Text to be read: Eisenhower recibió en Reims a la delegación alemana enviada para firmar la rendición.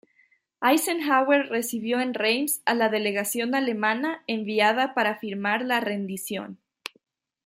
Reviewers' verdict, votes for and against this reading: accepted, 2, 0